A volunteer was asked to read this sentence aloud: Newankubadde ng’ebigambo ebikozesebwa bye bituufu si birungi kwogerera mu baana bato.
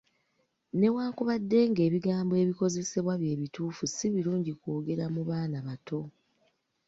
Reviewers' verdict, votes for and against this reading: rejected, 1, 2